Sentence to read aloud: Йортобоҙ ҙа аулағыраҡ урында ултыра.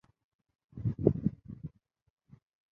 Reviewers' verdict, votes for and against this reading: rejected, 0, 2